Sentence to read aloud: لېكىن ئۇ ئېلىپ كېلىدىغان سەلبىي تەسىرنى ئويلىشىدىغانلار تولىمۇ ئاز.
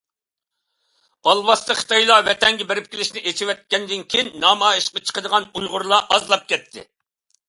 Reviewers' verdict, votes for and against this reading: rejected, 0, 2